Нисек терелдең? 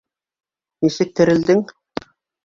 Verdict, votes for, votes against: accepted, 2, 0